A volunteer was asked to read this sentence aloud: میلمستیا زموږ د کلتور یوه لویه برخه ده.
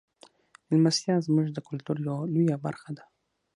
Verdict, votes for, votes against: accepted, 6, 3